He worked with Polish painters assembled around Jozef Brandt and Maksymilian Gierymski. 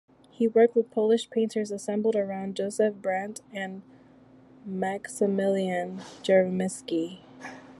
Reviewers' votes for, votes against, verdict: 2, 0, accepted